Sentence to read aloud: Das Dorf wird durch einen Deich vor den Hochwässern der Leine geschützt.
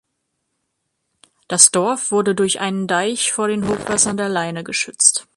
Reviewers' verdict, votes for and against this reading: rejected, 1, 2